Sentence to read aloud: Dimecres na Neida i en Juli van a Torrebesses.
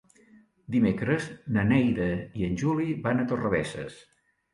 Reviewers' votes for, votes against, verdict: 2, 0, accepted